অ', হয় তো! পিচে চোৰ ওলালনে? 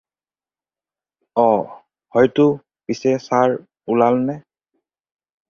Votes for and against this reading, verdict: 2, 4, rejected